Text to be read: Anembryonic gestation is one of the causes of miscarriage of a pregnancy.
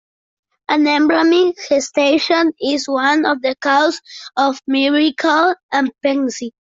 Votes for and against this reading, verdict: 0, 2, rejected